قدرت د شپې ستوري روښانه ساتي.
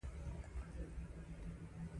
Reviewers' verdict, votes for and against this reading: rejected, 1, 2